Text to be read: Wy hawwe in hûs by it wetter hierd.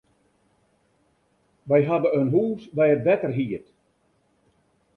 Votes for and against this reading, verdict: 2, 0, accepted